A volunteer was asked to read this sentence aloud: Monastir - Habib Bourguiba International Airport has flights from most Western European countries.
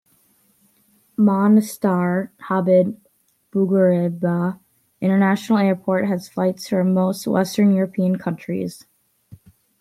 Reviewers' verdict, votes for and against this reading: accepted, 2, 1